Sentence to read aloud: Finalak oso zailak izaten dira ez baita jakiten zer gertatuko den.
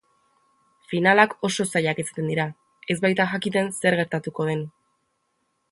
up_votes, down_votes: 3, 0